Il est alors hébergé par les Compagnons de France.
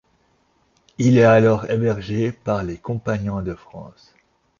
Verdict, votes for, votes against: accepted, 2, 0